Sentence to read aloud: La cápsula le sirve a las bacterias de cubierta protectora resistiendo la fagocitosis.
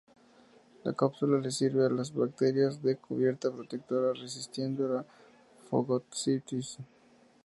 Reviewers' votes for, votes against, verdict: 2, 0, accepted